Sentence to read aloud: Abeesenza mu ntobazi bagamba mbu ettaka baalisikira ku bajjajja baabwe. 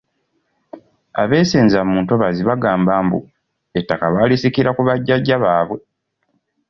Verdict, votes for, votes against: accepted, 2, 0